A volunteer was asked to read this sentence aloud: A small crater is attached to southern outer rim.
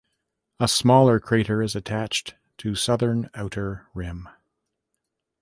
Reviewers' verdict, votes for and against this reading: rejected, 0, 2